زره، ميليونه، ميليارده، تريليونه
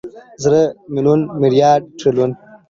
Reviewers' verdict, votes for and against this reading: accepted, 2, 0